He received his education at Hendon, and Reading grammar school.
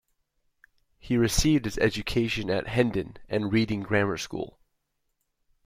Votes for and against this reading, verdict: 2, 0, accepted